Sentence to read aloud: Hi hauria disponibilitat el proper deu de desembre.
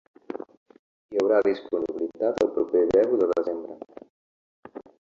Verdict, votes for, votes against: accepted, 2, 1